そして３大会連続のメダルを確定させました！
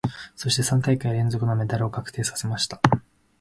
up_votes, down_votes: 0, 2